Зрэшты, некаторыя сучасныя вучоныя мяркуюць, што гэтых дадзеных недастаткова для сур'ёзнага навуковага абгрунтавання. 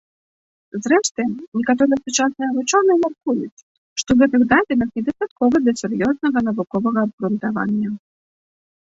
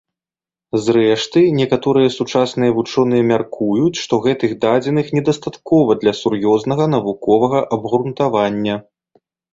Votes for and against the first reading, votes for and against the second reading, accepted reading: 1, 2, 2, 0, second